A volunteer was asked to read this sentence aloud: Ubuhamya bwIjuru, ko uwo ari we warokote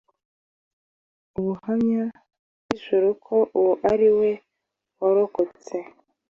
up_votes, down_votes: 0, 2